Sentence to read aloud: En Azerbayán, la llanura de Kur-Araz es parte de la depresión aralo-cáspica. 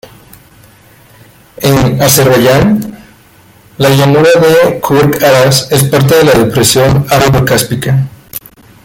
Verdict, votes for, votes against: rejected, 1, 2